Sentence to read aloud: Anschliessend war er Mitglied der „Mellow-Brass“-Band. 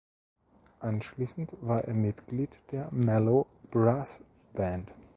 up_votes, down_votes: 2, 0